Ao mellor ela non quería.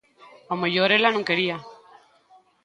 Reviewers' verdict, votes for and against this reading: accepted, 2, 1